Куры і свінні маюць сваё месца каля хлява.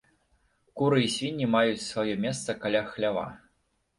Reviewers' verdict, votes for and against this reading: accepted, 2, 0